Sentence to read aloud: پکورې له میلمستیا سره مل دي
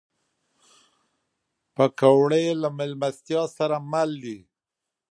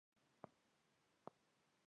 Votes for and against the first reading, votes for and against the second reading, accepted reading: 2, 0, 0, 2, first